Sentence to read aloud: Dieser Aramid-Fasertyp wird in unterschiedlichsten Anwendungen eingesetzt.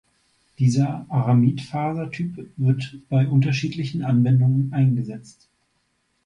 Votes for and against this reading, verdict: 0, 2, rejected